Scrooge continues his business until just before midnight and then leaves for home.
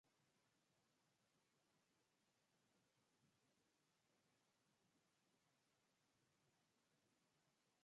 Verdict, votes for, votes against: rejected, 0, 2